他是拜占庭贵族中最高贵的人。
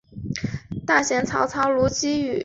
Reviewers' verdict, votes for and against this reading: rejected, 0, 2